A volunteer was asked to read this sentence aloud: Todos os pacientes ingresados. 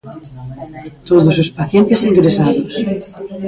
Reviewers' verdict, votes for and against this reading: rejected, 0, 2